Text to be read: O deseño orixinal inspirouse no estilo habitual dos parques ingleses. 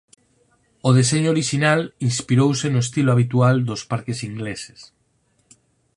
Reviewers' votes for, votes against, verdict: 4, 0, accepted